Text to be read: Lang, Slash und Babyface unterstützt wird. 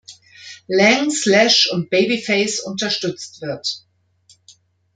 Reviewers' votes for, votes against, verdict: 2, 0, accepted